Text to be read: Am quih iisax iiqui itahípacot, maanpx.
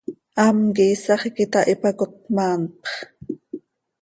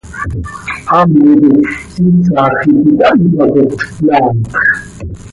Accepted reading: first